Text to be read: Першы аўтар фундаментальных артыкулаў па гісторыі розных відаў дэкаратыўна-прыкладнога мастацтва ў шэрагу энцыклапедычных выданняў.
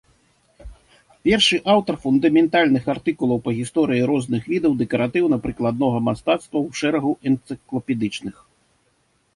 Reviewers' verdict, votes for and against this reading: rejected, 0, 2